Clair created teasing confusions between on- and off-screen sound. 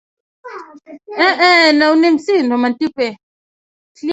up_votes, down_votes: 0, 3